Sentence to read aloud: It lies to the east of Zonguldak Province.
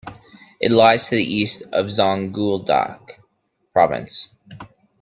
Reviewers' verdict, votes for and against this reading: rejected, 0, 2